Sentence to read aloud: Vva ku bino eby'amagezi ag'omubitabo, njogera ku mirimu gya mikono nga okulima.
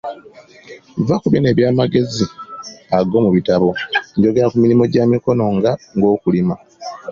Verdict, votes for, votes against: accepted, 3, 0